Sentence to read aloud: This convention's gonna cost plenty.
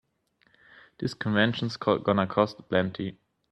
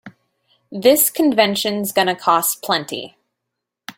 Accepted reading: second